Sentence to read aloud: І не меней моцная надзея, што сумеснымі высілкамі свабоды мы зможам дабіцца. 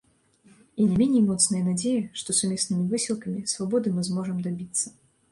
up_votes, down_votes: 0, 2